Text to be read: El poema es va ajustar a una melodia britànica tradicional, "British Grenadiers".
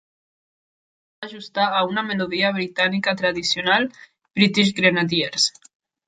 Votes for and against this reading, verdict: 0, 2, rejected